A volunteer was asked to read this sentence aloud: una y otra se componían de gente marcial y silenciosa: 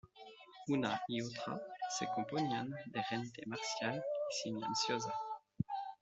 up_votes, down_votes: 2, 0